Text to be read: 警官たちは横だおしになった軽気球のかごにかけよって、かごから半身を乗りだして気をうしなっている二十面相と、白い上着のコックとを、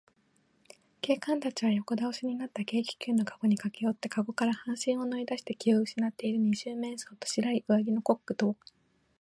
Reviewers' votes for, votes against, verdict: 3, 4, rejected